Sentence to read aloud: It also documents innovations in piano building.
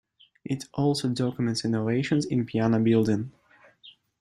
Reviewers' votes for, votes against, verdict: 2, 0, accepted